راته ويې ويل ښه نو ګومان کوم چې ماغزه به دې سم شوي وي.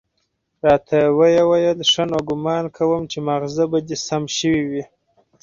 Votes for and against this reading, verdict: 4, 0, accepted